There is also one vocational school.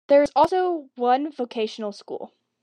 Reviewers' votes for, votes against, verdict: 1, 2, rejected